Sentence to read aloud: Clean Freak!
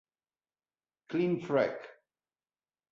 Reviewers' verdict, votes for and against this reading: rejected, 1, 2